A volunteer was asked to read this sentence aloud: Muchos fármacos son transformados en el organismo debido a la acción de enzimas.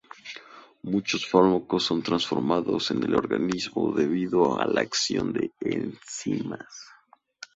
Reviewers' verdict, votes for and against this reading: rejected, 0, 2